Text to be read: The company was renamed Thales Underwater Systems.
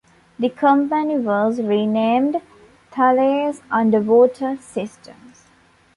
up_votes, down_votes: 3, 2